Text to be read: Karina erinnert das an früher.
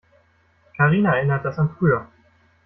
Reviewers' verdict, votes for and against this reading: rejected, 1, 2